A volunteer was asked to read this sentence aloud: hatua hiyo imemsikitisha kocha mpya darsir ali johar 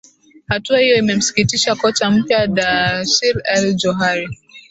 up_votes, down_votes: 2, 1